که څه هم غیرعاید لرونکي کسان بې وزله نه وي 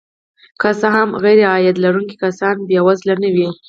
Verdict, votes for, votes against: accepted, 4, 2